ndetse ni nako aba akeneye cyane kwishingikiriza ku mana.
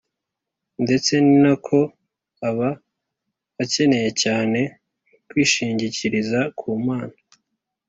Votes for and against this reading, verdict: 2, 0, accepted